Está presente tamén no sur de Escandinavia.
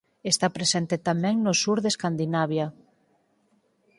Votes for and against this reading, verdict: 4, 0, accepted